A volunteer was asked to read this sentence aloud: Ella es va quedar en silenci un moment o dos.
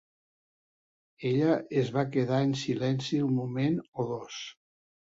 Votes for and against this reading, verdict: 2, 0, accepted